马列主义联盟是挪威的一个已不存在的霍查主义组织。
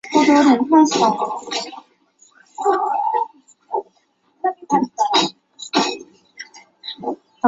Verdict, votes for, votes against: rejected, 5, 6